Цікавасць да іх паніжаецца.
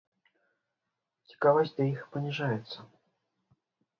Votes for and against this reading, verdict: 3, 0, accepted